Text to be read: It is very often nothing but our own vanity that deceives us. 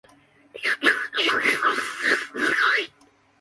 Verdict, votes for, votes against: rejected, 0, 2